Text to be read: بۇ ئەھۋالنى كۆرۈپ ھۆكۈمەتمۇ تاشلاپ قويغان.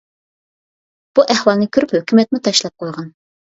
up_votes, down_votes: 2, 0